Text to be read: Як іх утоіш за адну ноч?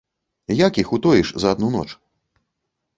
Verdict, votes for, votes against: accepted, 2, 0